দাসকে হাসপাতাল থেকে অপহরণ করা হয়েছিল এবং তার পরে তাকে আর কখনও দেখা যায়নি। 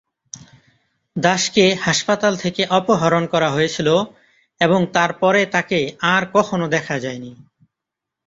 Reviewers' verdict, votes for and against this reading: accepted, 2, 0